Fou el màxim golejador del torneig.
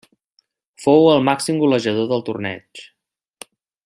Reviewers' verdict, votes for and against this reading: accepted, 2, 0